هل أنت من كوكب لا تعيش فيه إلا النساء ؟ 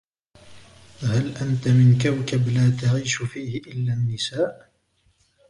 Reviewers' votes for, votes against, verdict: 2, 0, accepted